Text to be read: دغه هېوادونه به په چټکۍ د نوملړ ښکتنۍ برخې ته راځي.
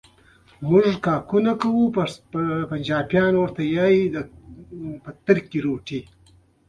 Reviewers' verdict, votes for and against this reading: rejected, 0, 2